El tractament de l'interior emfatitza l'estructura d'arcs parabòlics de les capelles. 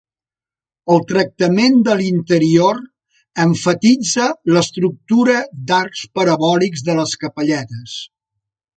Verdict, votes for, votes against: rejected, 1, 2